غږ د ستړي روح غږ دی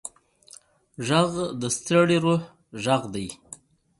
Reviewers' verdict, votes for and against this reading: accepted, 2, 0